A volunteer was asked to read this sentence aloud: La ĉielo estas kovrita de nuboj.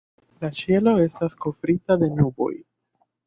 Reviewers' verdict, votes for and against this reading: accepted, 2, 1